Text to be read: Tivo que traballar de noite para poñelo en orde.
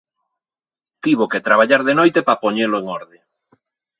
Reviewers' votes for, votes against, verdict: 1, 2, rejected